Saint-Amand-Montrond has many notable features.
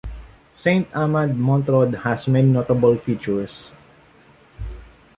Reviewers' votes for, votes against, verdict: 2, 0, accepted